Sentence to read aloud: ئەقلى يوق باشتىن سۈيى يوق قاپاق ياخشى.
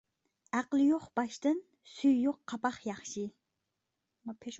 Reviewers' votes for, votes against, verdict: 0, 2, rejected